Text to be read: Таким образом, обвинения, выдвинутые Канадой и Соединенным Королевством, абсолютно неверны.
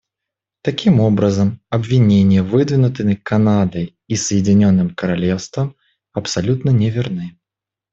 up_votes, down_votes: 0, 2